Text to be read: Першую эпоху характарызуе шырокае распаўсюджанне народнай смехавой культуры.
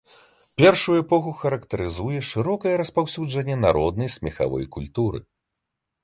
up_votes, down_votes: 2, 0